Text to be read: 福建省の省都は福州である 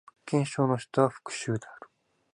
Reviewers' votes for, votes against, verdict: 0, 2, rejected